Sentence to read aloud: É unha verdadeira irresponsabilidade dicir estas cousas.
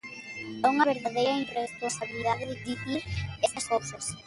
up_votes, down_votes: 1, 2